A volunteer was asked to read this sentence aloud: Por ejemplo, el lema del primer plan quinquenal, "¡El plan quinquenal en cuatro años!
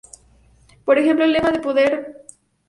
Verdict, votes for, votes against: rejected, 0, 2